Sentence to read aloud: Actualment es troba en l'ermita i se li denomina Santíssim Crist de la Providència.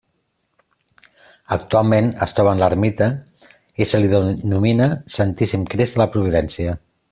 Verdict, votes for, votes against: accepted, 2, 0